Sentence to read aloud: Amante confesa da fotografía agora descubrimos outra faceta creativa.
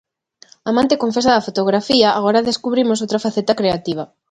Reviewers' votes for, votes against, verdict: 2, 0, accepted